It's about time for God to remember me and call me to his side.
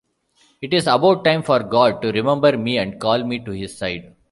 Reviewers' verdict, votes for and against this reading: accepted, 2, 0